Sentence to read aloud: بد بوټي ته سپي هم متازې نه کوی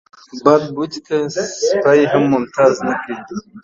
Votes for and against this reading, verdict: 0, 2, rejected